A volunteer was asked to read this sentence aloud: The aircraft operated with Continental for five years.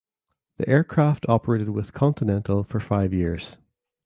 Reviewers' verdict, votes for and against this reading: accepted, 2, 0